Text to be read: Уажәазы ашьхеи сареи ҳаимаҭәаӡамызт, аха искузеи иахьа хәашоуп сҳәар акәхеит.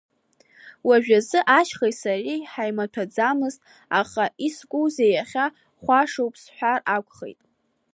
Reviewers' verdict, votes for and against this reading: accepted, 2, 0